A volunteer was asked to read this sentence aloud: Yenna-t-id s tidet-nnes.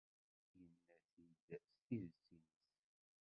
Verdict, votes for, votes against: rejected, 0, 2